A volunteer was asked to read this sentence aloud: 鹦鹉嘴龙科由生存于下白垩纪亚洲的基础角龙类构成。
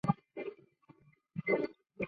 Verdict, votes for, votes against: rejected, 0, 2